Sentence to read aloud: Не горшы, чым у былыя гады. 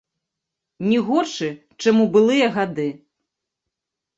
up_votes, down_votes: 1, 2